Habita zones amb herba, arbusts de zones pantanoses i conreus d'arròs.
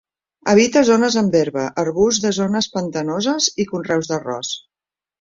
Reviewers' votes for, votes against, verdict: 2, 0, accepted